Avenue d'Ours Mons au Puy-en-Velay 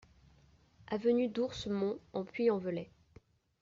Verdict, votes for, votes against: accepted, 2, 1